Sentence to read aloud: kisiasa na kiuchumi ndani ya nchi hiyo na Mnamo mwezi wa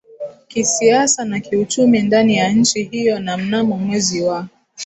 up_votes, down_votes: 1, 2